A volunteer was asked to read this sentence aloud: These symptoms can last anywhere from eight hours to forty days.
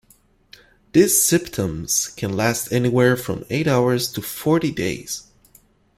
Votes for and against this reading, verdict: 2, 0, accepted